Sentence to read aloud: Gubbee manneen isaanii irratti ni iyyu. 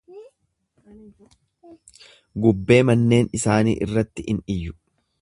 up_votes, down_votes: 1, 2